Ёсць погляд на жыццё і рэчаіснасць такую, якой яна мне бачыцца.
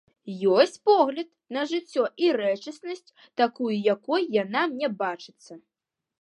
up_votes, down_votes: 0, 3